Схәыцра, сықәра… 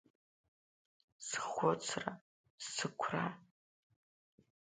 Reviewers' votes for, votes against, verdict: 0, 6, rejected